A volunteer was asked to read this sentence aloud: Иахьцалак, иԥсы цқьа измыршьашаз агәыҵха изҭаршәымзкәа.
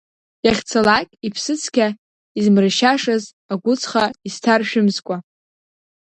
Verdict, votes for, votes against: rejected, 1, 2